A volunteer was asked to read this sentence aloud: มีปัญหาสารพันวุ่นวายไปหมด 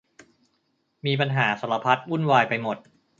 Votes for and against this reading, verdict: 0, 2, rejected